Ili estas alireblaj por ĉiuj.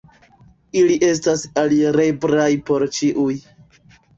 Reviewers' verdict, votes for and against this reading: rejected, 1, 2